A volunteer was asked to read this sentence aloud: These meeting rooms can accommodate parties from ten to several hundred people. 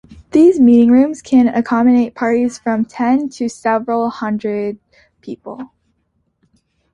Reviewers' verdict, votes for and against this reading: accepted, 2, 1